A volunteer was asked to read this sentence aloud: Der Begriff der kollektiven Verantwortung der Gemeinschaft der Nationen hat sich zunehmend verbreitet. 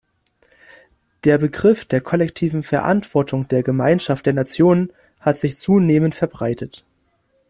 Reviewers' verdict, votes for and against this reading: accepted, 2, 0